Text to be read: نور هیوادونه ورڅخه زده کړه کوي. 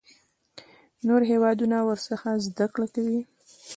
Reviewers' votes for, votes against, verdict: 2, 0, accepted